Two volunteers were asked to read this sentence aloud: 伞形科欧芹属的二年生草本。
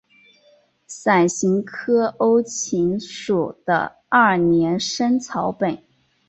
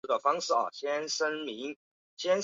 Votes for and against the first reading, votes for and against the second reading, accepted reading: 5, 0, 0, 4, first